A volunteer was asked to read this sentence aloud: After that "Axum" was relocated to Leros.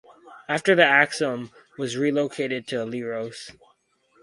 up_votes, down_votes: 2, 4